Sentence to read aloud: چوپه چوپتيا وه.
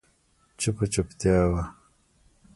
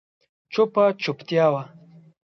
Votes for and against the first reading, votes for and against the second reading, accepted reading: 1, 2, 2, 0, second